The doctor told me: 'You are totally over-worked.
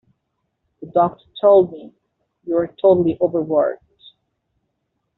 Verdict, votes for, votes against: accepted, 2, 1